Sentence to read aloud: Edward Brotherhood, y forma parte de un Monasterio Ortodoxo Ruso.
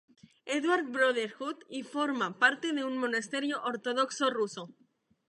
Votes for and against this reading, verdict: 2, 0, accepted